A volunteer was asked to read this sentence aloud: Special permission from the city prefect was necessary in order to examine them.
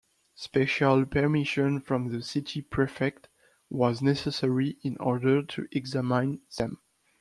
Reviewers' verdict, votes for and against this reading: rejected, 1, 2